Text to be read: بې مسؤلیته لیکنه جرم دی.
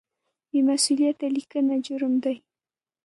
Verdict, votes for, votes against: rejected, 1, 2